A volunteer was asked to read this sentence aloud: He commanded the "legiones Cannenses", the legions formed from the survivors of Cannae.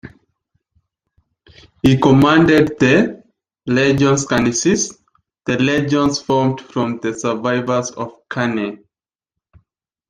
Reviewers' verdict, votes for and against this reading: rejected, 1, 2